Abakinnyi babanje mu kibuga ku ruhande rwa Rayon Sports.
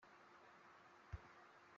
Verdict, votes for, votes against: rejected, 0, 2